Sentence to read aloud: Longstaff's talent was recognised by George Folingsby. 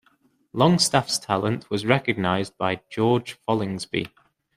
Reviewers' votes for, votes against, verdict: 2, 0, accepted